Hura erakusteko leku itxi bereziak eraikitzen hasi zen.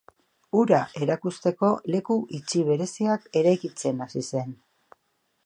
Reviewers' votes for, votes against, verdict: 2, 0, accepted